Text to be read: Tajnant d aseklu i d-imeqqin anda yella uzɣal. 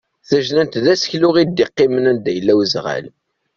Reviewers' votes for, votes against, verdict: 1, 2, rejected